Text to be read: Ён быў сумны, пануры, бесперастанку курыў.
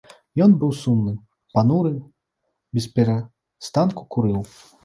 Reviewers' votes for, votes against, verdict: 1, 2, rejected